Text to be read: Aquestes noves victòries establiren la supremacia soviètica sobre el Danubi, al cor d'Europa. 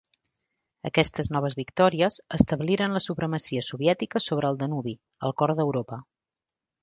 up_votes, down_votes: 2, 0